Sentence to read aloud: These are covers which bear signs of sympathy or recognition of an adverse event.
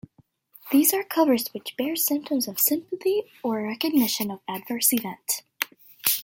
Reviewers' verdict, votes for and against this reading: accepted, 2, 0